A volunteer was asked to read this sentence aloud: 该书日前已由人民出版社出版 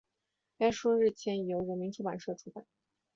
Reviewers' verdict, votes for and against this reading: accepted, 5, 3